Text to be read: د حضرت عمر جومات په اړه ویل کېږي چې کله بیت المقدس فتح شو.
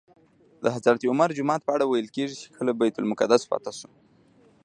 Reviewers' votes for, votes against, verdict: 2, 0, accepted